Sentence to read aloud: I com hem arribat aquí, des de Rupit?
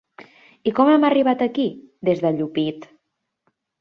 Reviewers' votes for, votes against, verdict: 0, 2, rejected